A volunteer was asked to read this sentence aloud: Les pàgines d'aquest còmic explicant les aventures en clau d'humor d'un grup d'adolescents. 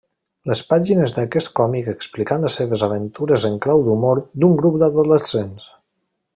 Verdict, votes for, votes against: rejected, 0, 2